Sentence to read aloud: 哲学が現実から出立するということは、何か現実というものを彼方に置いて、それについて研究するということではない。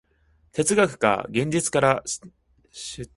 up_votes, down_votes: 0, 2